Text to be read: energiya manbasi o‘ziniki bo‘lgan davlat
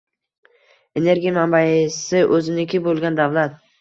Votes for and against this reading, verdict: 1, 2, rejected